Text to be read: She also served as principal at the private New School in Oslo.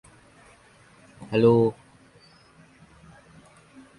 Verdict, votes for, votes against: rejected, 1, 2